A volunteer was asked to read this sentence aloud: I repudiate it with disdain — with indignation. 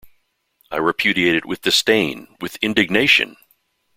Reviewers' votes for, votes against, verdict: 2, 0, accepted